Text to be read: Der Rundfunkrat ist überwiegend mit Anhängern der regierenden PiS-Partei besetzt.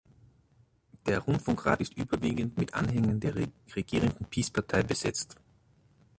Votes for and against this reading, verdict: 0, 2, rejected